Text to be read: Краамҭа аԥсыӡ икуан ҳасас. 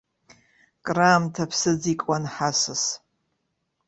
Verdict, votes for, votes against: accepted, 2, 0